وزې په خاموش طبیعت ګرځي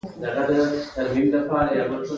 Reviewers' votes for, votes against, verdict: 1, 2, rejected